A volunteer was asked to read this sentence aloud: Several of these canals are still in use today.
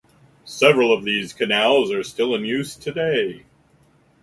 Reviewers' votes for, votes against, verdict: 4, 0, accepted